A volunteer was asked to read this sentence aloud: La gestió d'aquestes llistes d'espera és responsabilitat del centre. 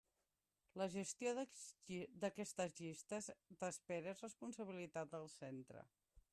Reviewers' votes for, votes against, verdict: 0, 2, rejected